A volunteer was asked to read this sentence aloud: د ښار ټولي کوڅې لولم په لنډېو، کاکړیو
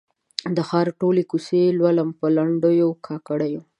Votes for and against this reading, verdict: 6, 0, accepted